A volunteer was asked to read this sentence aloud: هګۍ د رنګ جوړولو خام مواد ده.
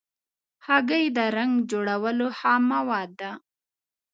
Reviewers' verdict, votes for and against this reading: accepted, 2, 0